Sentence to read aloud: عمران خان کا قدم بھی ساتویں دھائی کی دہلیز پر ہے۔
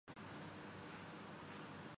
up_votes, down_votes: 2, 7